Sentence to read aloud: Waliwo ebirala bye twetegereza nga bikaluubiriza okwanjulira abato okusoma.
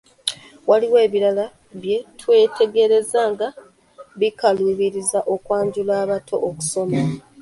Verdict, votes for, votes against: rejected, 1, 2